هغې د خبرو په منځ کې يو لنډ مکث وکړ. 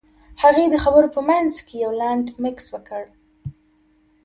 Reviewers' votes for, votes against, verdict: 1, 2, rejected